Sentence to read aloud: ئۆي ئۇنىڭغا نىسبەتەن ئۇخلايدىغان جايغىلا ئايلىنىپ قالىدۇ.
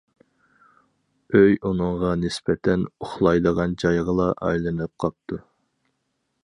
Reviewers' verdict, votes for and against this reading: rejected, 2, 2